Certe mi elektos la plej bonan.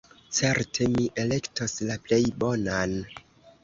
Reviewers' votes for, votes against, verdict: 2, 0, accepted